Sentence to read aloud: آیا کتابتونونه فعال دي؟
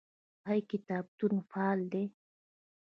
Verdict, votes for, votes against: rejected, 0, 2